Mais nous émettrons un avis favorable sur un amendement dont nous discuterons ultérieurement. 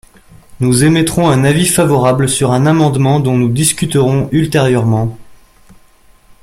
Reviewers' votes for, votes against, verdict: 0, 2, rejected